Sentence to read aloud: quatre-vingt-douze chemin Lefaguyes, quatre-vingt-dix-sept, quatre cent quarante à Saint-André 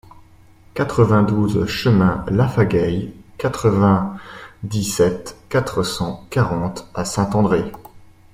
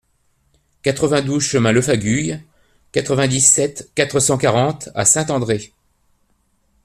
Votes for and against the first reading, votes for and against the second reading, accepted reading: 1, 2, 2, 0, second